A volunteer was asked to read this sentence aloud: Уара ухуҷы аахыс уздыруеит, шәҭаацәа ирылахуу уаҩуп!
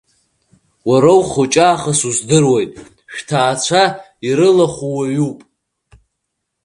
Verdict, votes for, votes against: accepted, 2, 0